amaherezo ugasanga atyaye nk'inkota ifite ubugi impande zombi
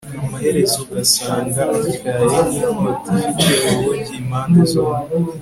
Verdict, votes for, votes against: accepted, 3, 1